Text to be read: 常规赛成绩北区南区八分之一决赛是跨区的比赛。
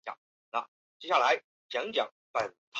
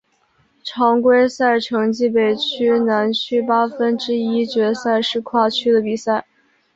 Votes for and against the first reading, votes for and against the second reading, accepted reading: 0, 4, 6, 0, second